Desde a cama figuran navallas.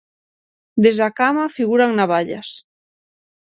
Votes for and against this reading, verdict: 6, 0, accepted